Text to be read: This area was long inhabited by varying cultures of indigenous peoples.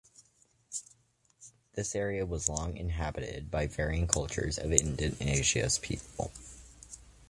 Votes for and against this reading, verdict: 2, 1, accepted